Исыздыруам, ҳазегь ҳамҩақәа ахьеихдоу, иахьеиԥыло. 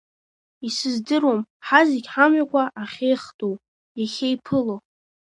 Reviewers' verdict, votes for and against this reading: accepted, 2, 0